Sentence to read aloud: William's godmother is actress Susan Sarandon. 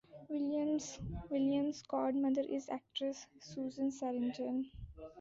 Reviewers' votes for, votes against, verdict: 0, 2, rejected